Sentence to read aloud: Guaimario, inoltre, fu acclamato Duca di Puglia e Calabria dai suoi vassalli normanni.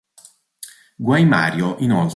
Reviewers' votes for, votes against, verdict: 0, 2, rejected